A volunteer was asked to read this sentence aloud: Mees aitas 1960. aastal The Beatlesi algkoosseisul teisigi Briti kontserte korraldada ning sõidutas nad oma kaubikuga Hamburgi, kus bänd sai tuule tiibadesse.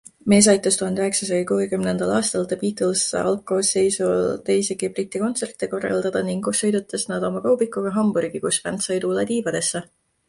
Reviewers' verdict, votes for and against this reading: rejected, 0, 2